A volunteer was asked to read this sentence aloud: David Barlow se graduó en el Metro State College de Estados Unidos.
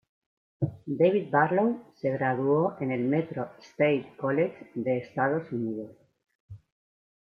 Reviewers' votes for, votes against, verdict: 1, 2, rejected